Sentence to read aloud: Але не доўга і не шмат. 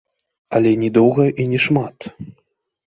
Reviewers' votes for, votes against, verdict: 0, 2, rejected